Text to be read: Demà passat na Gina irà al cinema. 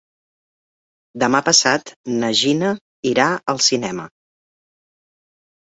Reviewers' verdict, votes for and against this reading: accepted, 4, 0